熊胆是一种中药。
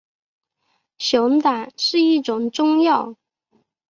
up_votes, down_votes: 3, 0